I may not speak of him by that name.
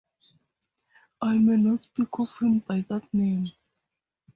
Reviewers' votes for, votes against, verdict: 2, 2, rejected